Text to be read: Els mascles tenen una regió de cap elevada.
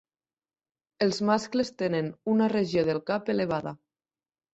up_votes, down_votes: 0, 2